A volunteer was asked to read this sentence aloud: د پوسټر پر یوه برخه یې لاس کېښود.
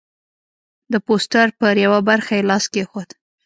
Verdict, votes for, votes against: rejected, 0, 2